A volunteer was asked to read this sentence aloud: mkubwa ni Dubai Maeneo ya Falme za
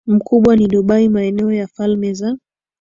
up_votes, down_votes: 2, 0